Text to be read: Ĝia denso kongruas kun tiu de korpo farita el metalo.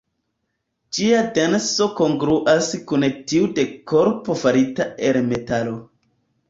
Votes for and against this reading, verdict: 2, 1, accepted